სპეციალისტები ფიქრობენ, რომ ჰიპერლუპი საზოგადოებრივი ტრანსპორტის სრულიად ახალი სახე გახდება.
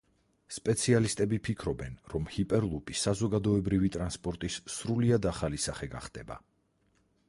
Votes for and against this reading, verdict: 4, 2, accepted